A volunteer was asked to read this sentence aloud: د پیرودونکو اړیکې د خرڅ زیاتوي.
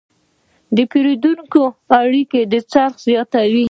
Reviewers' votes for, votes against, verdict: 1, 2, rejected